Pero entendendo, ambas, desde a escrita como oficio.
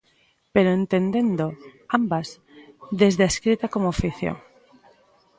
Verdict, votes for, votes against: accepted, 2, 0